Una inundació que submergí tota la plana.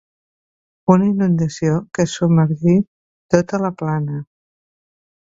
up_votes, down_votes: 2, 0